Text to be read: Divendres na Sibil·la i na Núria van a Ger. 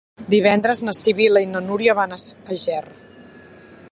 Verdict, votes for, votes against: rejected, 0, 2